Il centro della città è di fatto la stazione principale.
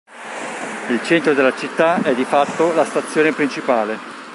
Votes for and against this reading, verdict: 1, 2, rejected